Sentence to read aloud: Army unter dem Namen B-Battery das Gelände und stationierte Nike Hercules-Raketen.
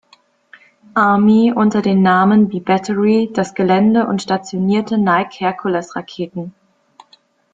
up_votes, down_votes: 2, 0